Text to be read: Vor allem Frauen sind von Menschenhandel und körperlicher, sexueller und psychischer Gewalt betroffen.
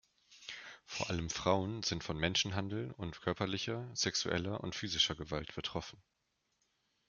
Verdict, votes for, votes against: rejected, 0, 2